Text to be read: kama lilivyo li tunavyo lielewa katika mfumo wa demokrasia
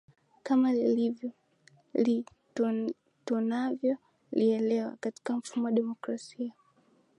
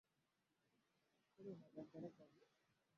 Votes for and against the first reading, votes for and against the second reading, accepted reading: 7, 6, 1, 10, first